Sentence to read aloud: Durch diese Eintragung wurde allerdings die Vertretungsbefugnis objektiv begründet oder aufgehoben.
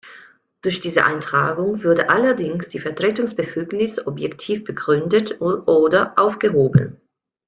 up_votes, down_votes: 0, 2